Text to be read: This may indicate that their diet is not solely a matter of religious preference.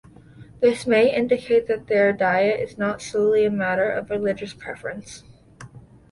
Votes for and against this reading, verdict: 2, 0, accepted